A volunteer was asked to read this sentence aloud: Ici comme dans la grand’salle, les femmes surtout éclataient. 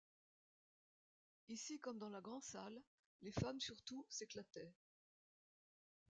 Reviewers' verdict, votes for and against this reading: rejected, 0, 2